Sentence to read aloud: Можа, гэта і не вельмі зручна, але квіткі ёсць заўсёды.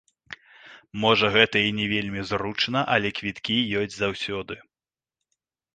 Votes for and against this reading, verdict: 1, 2, rejected